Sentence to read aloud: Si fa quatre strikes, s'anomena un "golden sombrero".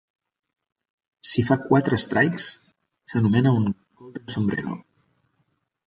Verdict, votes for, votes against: rejected, 0, 2